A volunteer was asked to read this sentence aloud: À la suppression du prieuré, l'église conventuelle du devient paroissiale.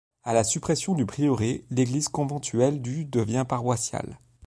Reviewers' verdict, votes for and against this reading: accepted, 2, 0